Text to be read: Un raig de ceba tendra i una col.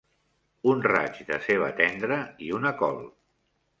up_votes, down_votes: 3, 0